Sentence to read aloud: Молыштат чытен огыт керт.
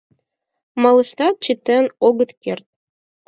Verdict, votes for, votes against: accepted, 4, 0